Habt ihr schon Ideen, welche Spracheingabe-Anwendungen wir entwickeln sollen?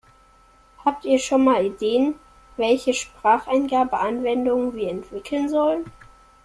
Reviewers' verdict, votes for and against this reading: rejected, 0, 2